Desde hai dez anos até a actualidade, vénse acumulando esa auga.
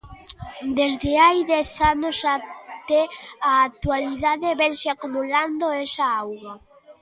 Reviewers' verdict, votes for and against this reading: accepted, 2, 0